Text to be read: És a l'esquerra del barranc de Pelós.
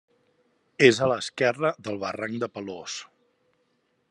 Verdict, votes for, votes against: accepted, 2, 0